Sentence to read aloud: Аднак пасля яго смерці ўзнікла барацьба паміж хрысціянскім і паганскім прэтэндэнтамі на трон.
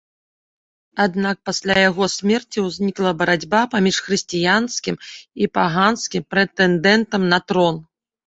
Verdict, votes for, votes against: rejected, 1, 2